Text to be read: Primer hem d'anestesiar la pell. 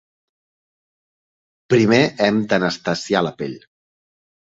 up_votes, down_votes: 2, 0